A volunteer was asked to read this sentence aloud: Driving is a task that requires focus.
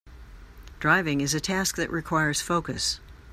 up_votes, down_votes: 2, 0